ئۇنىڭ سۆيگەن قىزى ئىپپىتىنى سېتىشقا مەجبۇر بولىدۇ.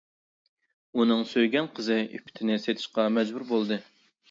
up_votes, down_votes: 2, 1